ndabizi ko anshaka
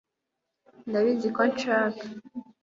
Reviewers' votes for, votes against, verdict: 2, 0, accepted